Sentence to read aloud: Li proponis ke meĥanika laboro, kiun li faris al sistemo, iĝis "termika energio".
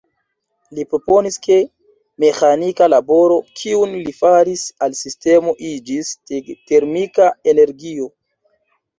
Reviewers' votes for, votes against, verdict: 1, 2, rejected